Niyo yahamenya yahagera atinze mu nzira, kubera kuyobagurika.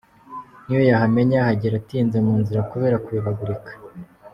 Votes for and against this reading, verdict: 2, 0, accepted